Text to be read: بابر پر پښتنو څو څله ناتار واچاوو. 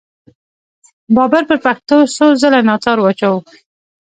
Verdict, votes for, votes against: rejected, 0, 2